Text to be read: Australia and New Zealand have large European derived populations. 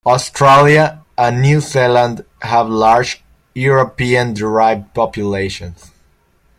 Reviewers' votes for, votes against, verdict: 2, 0, accepted